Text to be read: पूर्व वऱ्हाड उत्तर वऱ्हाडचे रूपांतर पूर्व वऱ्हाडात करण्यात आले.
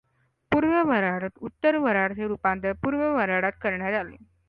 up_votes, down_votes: 2, 0